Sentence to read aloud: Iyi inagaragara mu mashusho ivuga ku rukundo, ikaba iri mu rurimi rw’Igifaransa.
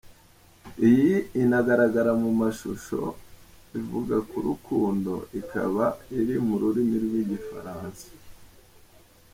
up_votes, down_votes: 2, 0